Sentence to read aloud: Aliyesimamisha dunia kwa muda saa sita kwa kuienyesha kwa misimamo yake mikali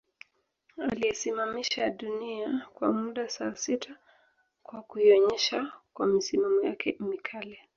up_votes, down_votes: 3, 4